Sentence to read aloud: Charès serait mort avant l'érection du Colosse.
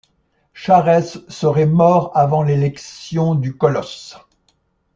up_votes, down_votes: 0, 2